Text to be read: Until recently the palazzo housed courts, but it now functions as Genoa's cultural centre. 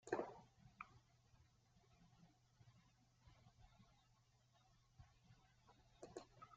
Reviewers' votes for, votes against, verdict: 0, 2, rejected